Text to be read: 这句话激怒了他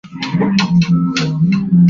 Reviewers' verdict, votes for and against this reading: rejected, 0, 4